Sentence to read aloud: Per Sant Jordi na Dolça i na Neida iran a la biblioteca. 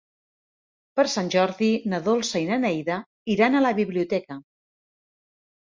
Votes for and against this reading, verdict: 3, 0, accepted